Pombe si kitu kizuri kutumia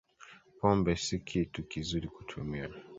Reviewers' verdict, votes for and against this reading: accepted, 2, 0